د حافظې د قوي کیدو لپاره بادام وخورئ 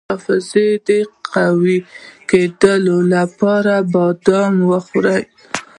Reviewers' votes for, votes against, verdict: 2, 0, accepted